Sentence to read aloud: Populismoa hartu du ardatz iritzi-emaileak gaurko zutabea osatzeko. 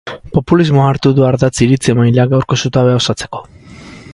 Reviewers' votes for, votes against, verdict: 10, 0, accepted